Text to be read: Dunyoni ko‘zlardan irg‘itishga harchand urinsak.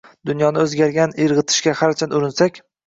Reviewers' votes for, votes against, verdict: 0, 2, rejected